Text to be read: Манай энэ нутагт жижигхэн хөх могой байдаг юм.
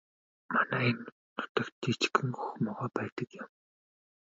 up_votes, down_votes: 1, 2